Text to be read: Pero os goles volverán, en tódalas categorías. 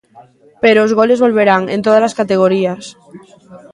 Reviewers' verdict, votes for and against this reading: accepted, 2, 0